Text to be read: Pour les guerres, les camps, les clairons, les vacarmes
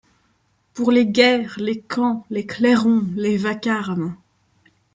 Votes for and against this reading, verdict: 2, 0, accepted